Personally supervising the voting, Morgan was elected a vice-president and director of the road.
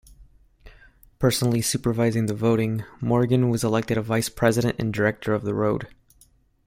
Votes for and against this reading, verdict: 2, 0, accepted